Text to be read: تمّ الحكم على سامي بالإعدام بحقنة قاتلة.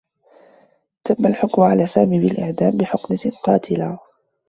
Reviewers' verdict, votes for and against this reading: rejected, 0, 2